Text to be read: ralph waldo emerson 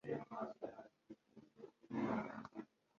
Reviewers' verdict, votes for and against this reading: rejected, 3, 4